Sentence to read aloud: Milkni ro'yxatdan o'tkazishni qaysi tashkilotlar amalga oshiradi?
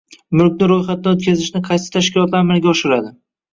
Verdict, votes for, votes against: accepted, 2, 0